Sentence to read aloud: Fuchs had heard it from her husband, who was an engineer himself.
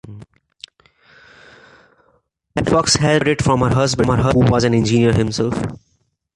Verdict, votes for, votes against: accepted, 2, 1